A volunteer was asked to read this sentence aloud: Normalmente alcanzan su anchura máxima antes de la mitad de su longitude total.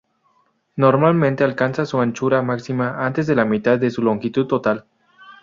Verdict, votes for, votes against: rejected, 0, 2